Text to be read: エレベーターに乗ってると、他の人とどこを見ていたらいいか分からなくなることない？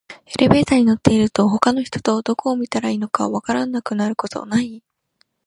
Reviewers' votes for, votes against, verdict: 1, 2, rejected